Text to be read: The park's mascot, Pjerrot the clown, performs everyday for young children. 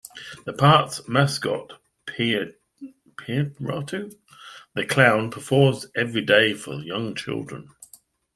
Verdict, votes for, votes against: rejected, 1, 2